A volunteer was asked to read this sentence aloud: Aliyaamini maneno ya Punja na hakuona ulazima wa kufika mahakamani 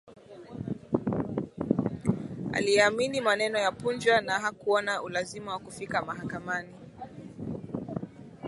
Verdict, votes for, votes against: accepted, 3, 0